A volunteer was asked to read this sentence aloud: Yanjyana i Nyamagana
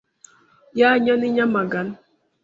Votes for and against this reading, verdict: 1, 2, rejected